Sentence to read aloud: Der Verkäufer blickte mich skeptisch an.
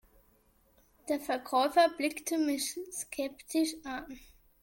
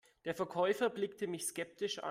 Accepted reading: second